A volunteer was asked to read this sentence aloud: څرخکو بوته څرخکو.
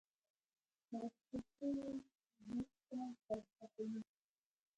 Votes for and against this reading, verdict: 1, 2, rejected